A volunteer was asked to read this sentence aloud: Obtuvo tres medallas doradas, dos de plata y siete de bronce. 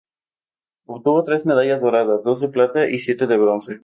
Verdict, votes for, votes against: accepted, 2, 0